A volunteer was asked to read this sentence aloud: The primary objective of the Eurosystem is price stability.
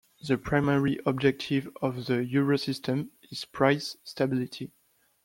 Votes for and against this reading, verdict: 2, 0, accepted